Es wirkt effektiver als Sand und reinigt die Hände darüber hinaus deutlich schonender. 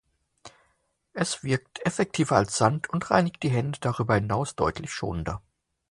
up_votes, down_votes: 2, 0